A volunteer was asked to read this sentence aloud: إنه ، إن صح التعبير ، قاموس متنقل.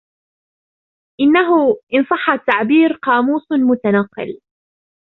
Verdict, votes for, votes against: rejected, 0, 2